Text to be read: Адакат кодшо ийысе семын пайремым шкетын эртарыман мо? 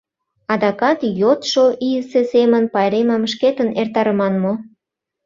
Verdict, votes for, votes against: rejected, 0, 2